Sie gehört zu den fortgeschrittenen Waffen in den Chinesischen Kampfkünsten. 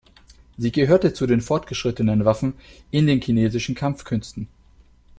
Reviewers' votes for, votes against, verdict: 0, 2, rejected